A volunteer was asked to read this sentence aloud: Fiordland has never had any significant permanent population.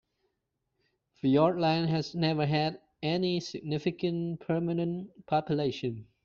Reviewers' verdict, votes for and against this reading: accepted, 3, 0